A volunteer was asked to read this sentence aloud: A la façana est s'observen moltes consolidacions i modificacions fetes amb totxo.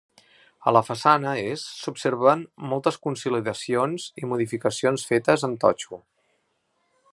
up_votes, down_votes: 2, 1